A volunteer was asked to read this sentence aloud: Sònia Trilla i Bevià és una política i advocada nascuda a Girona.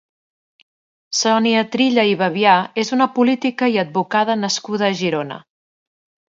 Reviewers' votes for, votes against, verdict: 2, 0, accepted